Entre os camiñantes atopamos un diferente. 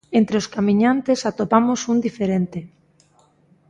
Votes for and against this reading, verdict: 2, 0, accepted